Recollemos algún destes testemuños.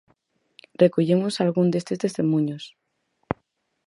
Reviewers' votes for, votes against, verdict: 4, 2, accepted